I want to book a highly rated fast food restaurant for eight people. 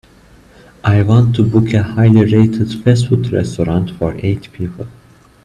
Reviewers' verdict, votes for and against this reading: accepted, 2, 0